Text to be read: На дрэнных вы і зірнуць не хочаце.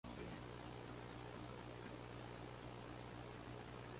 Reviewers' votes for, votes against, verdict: 0, 2, rejected